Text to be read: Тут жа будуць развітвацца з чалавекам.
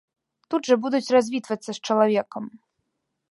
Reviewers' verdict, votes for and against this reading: accepted, 2, 0